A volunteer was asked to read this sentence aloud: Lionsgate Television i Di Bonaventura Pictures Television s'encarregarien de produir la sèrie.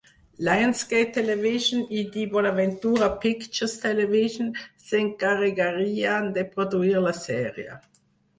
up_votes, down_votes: 2, 4